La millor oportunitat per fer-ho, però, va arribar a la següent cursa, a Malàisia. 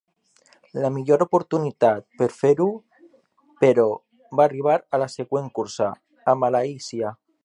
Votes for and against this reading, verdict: 4, 0, accepted